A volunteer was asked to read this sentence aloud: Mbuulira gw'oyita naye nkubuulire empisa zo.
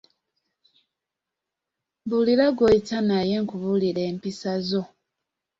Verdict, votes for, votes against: accepted, 2, 0